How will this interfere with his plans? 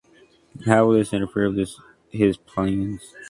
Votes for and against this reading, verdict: 2, 1, accepted